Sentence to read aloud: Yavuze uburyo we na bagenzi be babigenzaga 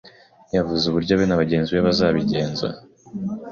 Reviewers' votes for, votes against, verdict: 1, 3, rejected